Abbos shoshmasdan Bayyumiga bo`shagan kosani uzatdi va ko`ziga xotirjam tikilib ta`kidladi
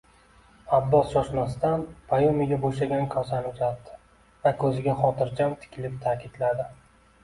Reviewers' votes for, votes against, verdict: 2, 0, accepted